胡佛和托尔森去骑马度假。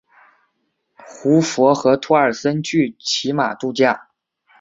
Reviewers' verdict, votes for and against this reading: accepted, 2, 1